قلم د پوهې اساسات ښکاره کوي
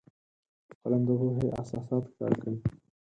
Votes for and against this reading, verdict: 2, 4, rejected